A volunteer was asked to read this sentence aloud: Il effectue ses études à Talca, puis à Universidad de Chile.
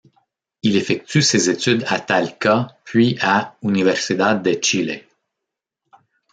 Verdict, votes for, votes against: accepted, 2, 0